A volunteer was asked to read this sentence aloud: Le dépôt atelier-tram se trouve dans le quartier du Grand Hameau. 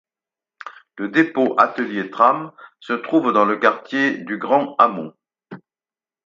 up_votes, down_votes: 2, 4